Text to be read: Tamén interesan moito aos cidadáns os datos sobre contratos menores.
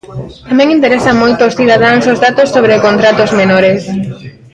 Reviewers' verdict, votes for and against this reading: rejected, 0, 2